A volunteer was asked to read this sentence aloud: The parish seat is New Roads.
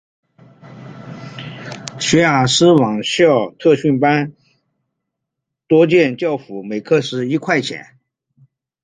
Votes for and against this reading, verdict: 0, 2, rejected